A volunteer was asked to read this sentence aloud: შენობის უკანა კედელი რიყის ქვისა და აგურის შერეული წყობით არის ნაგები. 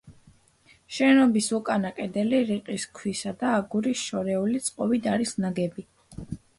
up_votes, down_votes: 1, 2